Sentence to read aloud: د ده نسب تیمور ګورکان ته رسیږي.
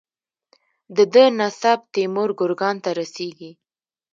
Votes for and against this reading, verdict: 0, 2, rejected